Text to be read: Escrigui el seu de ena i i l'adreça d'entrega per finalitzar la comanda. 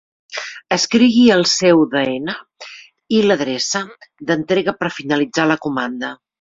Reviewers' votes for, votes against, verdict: 1, 2, rejected